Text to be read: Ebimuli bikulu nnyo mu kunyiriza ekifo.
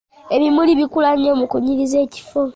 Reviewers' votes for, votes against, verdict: 1, 2, rejected